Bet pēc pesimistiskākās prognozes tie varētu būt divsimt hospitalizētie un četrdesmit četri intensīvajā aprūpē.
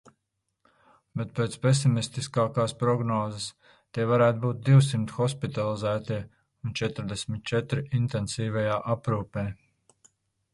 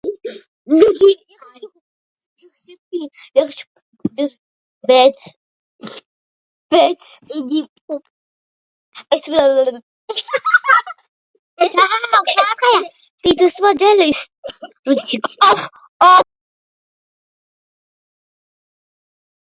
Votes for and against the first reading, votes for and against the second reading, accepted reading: 2, 0, 0, 2, first